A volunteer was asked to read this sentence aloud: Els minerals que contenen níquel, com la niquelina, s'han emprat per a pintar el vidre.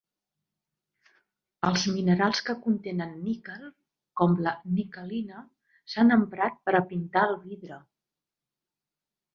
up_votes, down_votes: 2, 0